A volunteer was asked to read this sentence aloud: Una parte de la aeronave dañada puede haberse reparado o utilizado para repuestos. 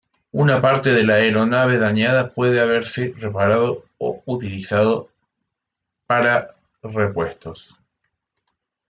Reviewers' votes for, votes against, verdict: 2, 0, accepted